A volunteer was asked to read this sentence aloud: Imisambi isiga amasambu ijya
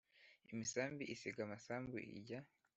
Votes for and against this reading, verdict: 4, 0, accepted